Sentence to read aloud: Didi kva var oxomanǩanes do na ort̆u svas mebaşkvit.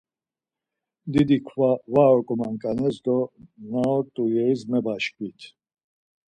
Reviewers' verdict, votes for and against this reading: rejected, 0, 4